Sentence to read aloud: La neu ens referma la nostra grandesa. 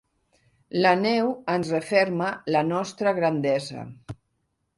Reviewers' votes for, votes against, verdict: 2, 0, accepted